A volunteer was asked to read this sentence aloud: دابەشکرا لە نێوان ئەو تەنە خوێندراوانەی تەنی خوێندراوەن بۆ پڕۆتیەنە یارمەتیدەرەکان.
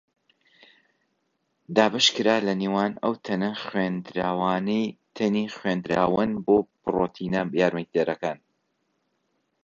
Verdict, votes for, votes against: rejected, 1, 2